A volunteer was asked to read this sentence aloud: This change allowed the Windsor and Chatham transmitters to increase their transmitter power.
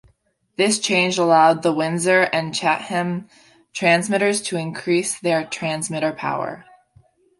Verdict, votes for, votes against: accepted, 2, 0